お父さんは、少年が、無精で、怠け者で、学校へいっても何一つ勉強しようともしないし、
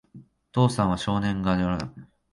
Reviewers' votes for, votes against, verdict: 0, 2, rejected